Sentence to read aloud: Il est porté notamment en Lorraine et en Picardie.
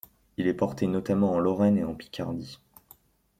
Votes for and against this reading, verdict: 2, 0, accepted